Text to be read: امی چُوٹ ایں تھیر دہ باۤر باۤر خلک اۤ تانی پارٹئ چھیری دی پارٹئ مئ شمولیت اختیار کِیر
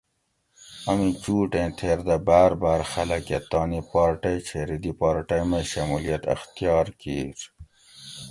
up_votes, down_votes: 2, 0